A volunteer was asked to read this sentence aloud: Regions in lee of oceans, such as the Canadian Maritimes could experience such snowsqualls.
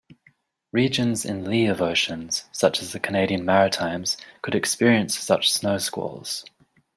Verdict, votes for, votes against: accepted, 2, 0